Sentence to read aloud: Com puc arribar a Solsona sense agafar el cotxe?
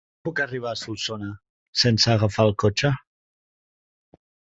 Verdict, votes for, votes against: rejected, 0, 2